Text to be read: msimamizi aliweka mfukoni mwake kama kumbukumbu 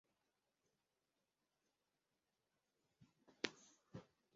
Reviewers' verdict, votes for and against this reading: rejected, 0, 3